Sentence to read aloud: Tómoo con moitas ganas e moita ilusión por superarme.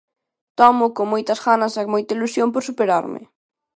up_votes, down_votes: 2, 0